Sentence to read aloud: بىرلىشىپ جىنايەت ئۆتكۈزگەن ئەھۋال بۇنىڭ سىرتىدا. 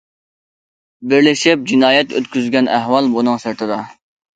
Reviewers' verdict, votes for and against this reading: accepted, 2, 0